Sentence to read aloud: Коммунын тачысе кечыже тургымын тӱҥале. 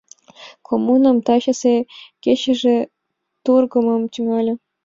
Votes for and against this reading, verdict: 2, 3, rejected